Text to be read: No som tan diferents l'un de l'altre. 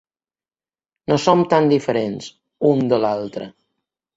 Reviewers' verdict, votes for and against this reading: rejected, 1, 2